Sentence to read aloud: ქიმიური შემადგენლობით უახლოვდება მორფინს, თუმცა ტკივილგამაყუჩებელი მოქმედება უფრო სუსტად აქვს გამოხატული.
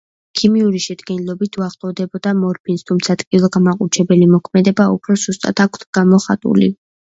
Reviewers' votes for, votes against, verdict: 2, 0, accepted